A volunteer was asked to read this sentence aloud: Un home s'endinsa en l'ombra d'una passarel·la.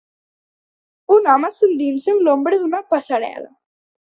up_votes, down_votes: 2, 0